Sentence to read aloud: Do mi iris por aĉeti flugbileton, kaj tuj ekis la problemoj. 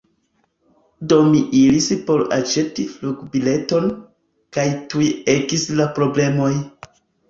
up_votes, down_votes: 2, 0